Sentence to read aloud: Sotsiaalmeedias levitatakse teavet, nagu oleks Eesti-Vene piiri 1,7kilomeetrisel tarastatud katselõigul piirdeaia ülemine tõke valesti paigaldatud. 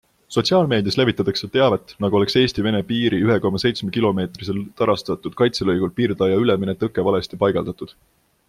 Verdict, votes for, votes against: rejected, 0, 2